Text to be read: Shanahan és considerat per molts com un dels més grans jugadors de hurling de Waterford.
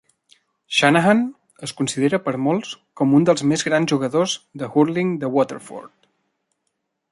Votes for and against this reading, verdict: 1, 2, rejected